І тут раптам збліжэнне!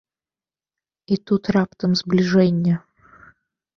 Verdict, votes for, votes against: accepted, 2, 1